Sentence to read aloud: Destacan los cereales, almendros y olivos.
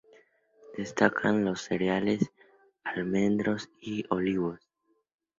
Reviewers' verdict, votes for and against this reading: accepted, 2, 0